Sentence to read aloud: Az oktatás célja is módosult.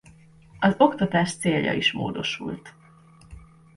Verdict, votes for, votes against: accepted, 2, 1